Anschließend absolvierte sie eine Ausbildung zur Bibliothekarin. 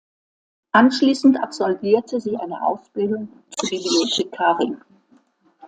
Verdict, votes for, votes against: rejected, 1, 2